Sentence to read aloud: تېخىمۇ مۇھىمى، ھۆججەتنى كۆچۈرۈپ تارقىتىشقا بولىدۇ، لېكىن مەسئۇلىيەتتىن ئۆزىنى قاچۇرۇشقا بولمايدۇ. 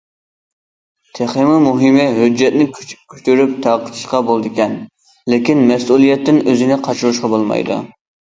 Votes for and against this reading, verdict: 0, 2, rejected